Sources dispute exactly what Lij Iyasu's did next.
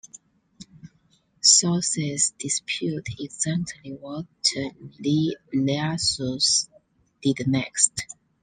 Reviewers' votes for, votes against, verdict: 2, 0, accepted